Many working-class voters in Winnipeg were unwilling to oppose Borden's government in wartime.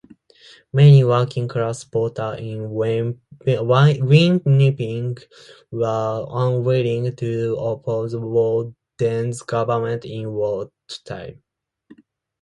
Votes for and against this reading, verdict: 1, 2, rejected